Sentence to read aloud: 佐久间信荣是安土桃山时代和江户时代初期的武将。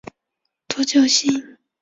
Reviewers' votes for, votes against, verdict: 1, 2, rejected